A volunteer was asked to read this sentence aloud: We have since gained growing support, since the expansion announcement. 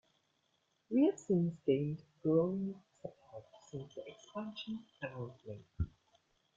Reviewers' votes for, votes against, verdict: 0, 2, rejected